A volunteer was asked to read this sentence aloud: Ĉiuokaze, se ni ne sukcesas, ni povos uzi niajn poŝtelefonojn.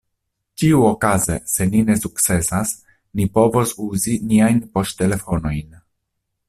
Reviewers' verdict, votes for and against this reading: accepted, 2, 0